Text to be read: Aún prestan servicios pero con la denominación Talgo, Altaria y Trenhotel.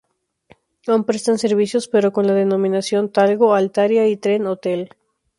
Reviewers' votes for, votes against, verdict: 2, 4, rejected